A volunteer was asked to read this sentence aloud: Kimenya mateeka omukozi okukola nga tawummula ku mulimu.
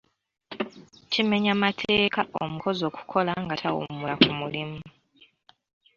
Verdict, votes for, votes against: rejected, 0, 2